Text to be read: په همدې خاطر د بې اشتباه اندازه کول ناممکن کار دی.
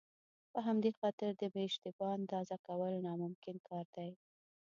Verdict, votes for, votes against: accepted, 2, 0